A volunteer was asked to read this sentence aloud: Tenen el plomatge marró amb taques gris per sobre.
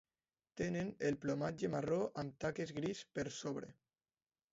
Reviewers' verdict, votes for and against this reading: accepted, 2, 0